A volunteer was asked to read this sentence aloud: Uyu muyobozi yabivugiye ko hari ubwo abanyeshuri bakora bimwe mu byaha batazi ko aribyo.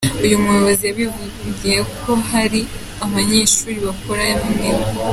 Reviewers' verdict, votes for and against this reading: rejected, 2, 3